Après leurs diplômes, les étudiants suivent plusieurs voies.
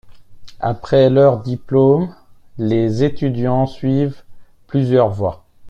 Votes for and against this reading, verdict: 1, 2, rejected